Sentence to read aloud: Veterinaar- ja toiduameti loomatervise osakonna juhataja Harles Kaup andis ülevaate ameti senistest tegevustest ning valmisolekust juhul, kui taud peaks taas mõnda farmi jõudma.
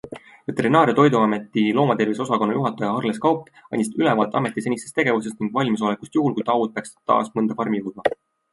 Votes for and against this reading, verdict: 2, 0, accepted